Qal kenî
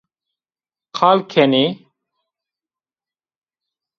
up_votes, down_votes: 2, 1